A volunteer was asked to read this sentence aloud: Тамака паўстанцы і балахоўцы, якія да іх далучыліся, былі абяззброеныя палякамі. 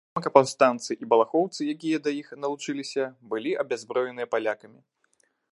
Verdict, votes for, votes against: rejected, 1, 2